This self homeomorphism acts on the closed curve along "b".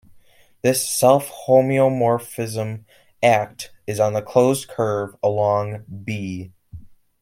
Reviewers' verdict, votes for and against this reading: rejected, 1, 2